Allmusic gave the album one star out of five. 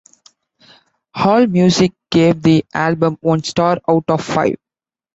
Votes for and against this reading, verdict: 2, 0, accepted